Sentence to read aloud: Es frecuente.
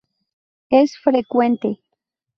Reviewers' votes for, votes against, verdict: 2, 2, rejected